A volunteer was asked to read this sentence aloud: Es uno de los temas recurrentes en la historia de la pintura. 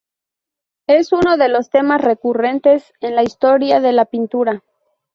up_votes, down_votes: 2, 0